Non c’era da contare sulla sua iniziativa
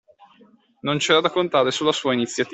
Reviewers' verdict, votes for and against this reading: rejected, 0, 2